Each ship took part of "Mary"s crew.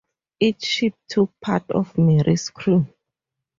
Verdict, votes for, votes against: accepted, 2, 0